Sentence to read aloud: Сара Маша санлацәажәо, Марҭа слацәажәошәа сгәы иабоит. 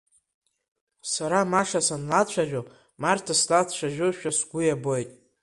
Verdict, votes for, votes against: rejected, 1, 2